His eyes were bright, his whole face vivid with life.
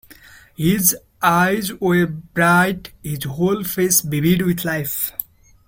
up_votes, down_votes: 2, 0